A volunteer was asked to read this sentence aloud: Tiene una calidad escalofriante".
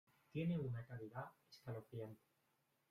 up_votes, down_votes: 2, 0